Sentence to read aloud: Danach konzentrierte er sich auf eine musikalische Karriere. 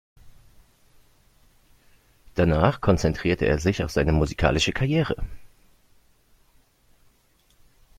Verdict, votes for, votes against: rejected, 0, 2